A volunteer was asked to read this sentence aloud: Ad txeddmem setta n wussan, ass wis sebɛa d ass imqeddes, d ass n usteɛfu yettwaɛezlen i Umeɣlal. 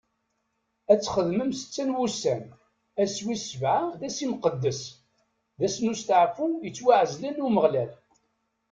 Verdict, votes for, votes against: rejected, 1, 2